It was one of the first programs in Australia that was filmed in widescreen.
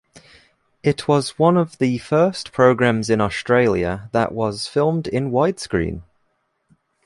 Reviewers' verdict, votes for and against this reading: accepted, 2, 1